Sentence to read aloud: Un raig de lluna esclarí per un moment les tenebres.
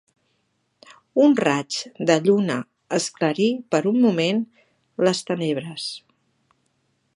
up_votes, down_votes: 2, 0